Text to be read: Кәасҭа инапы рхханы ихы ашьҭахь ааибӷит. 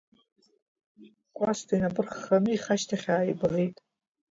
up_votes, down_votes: 0, 2